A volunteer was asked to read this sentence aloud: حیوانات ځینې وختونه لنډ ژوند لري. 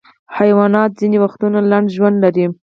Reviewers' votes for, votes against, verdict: 2, 4, rejected